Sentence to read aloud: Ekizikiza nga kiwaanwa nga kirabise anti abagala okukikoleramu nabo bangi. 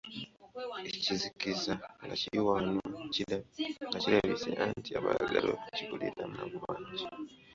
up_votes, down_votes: 0, 2